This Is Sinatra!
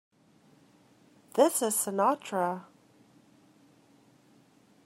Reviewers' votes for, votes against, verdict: 2, 1, accepted